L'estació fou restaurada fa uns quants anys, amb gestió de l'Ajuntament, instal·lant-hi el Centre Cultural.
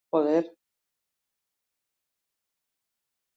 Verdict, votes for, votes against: rejected, 0, 2